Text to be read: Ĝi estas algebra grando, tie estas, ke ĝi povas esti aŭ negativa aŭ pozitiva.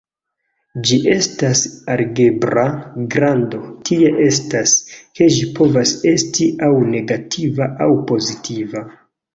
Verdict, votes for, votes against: rejected, 0, 2